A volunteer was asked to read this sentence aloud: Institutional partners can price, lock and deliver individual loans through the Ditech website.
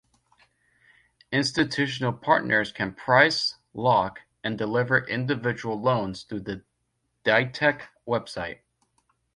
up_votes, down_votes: 2, 0